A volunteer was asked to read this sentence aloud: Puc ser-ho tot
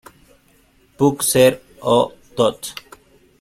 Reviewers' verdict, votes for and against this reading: accepted, 2, 0